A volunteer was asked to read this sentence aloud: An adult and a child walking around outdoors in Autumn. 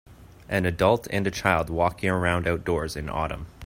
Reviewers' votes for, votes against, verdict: 2, 0, accepted